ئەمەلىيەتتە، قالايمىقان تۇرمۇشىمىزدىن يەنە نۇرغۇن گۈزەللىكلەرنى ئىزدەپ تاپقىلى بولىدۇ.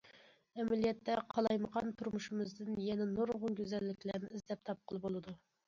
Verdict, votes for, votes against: accepted, 2, 0